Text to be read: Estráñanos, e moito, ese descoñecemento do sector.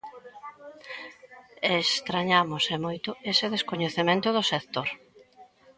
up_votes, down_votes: 0, 2